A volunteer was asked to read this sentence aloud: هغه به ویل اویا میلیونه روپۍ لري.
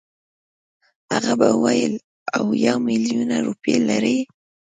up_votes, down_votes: 2, 0